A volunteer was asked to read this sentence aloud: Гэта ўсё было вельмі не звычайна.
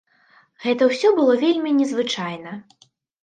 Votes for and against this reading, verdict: 2, 0, accepted